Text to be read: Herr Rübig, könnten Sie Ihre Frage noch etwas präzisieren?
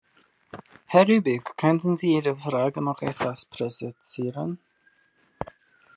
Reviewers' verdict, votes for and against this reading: accepted, 2, 1